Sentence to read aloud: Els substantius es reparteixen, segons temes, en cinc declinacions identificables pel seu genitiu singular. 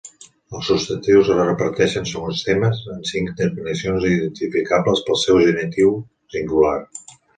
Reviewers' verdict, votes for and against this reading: rejected, 1, 2